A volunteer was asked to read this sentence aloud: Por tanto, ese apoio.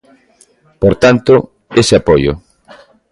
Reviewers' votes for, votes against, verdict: 2, 0, accepted